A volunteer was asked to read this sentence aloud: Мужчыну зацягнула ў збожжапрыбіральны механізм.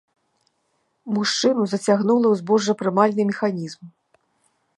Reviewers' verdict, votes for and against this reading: rejected, 1, 2